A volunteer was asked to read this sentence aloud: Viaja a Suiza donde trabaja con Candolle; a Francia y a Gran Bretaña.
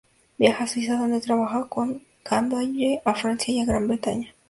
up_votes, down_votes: 4, 0